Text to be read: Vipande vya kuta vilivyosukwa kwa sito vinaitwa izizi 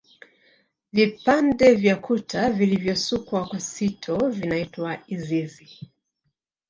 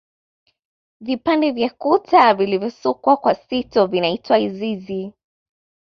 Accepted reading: second